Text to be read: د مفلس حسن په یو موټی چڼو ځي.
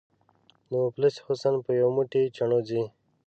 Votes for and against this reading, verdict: 2, 0, accepted